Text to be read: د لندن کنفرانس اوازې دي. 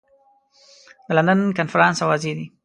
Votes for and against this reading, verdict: 2, 0, accepted